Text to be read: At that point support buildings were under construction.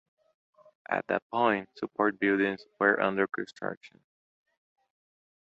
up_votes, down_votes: 2, 0